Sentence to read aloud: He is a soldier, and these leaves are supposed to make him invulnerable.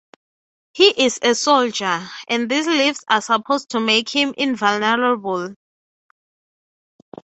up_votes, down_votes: 3, 0